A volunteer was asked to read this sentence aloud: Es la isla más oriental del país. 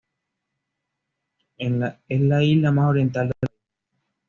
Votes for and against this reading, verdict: 1, 2, rejected